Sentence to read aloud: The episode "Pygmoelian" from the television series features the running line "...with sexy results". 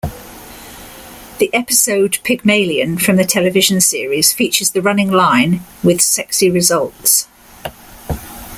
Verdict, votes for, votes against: accepted, 2, 0